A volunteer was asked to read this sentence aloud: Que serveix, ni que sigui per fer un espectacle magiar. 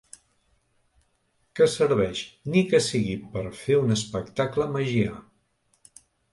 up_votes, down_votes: 2, 0